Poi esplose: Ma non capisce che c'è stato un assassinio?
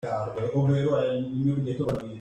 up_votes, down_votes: 0, 2